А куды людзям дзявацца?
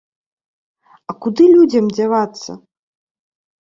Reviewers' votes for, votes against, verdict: 2, 0, accepted